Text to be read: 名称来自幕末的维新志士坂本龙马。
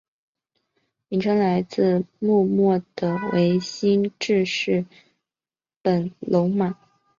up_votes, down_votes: 1, 2